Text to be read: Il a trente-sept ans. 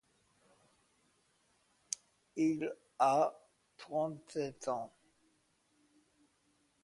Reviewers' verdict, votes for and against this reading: accepted, 2, 0